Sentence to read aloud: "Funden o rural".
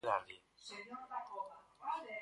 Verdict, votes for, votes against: rejected, 0, 4